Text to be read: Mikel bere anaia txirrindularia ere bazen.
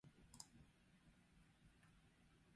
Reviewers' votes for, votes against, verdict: 0, 6, rejected